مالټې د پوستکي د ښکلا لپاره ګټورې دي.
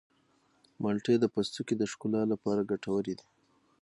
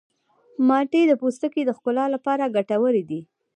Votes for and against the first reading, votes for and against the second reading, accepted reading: 6, 0, 0, 2, first